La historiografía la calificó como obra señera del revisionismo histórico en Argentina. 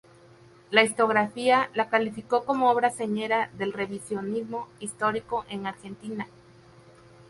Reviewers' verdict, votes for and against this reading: rejected, 0, 2